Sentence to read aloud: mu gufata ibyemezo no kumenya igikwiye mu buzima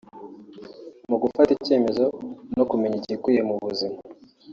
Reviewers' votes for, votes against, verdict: 1, 2, rejected